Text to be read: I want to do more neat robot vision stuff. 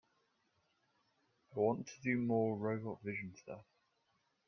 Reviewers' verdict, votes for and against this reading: rejected, 0, 2